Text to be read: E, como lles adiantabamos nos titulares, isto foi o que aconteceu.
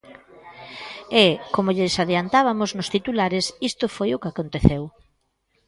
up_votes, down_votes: 0, 2